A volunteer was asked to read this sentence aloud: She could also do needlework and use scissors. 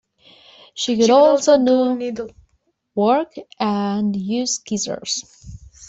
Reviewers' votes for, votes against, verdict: 0, 2, rejected